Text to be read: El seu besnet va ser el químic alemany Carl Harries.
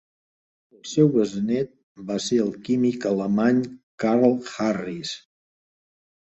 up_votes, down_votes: 0, 2